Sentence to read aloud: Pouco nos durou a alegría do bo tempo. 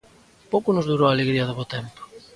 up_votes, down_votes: 3, 0